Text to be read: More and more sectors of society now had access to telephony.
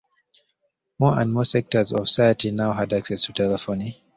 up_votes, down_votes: 1, 2